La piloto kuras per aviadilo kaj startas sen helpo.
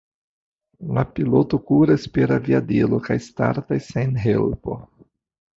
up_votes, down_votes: 2, 0